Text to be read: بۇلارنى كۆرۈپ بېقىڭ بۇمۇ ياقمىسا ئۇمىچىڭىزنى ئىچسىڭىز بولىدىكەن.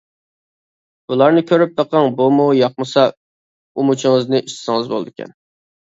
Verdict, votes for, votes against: accepted, 2, 0